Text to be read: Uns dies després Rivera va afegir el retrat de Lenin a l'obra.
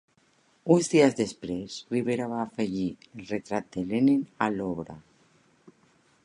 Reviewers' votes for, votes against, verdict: 3, 0, accepted